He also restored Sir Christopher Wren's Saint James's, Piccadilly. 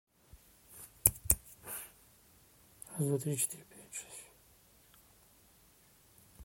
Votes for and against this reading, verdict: 0, 2, rejected